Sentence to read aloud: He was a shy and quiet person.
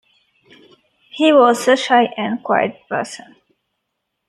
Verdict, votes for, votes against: accepted, 2, 0